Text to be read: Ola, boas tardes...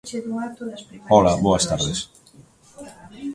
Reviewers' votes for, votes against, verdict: 0, 2, rejected